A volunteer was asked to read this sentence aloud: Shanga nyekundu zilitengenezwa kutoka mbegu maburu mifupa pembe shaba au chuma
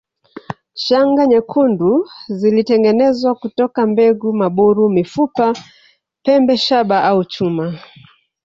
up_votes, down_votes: 1, 2